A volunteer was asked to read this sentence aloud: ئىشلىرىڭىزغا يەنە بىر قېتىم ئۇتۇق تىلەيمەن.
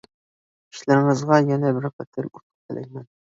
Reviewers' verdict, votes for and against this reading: rejected, 0, 2